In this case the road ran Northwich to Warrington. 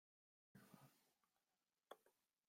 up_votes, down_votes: 0, 2